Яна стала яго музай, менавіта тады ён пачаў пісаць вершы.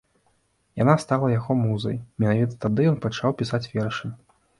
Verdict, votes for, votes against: accepted, 2, 0